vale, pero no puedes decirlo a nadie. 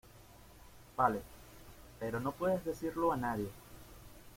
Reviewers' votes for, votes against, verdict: 0, 2, rejected